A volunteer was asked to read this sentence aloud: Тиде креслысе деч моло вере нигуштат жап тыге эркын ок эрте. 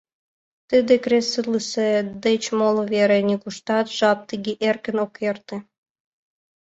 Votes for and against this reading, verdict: 2, 0, accepted